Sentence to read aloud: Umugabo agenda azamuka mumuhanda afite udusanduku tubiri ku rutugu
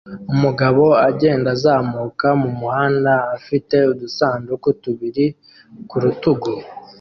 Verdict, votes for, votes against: accepted, 2, 0